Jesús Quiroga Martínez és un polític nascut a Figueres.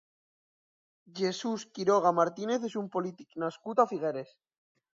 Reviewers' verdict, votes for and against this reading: accepted, 2, 0